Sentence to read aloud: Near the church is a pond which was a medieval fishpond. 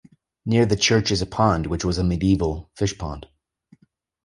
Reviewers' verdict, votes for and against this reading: accepted, 2, 0